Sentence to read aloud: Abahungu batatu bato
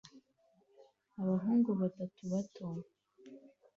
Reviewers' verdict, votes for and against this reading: accepted, 2, 0